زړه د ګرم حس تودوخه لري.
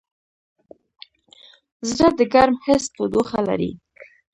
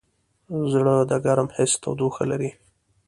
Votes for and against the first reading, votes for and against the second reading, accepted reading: 1, 2, 2, 0, second